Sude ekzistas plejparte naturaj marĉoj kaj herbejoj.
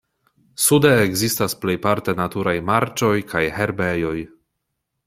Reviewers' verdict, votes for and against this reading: accepted, 2, 0